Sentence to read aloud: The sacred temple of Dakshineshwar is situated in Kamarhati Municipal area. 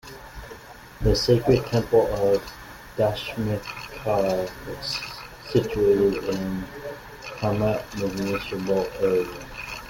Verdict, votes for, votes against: rejected, 0, 2